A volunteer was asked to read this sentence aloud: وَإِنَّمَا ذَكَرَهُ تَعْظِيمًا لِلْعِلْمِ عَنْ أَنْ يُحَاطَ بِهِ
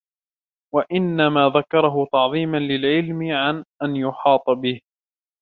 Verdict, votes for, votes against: accepted, 2, 0